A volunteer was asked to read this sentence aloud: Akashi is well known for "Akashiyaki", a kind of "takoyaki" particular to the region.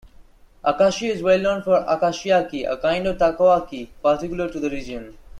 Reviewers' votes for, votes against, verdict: 2, 0, accepted